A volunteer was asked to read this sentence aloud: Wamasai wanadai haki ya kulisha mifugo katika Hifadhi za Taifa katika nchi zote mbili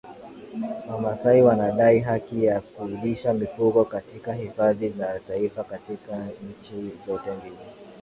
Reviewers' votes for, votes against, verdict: 2, 0, accepted